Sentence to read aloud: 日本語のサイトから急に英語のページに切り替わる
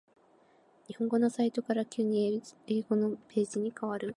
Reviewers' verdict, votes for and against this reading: rejected, 0, 2